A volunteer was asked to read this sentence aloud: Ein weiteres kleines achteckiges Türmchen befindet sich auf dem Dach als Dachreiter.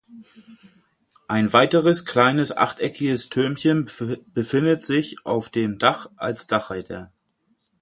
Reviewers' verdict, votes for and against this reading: rejected, 0, 8